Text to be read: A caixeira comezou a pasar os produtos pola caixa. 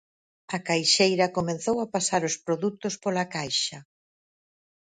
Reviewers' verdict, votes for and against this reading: rejected, 0, 4